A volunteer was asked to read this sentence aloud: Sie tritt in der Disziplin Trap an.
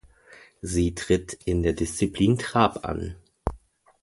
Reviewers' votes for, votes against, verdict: 2, 0, accepted